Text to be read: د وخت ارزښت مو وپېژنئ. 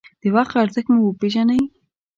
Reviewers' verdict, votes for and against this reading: accepted, 2, 0